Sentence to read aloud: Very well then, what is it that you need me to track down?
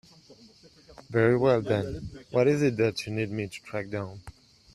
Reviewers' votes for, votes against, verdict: 2, 0, accepted